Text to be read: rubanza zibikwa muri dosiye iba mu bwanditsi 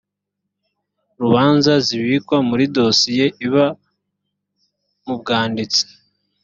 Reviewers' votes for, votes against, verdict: 3, 0, accepted